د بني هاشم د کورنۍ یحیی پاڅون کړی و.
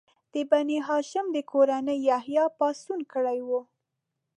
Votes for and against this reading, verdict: 2, 0, accepted